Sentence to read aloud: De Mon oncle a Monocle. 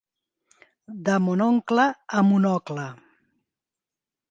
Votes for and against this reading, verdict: 2, 1, accepted